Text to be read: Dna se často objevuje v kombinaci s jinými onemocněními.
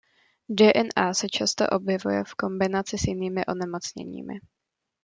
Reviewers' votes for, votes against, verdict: 0, 2, rejected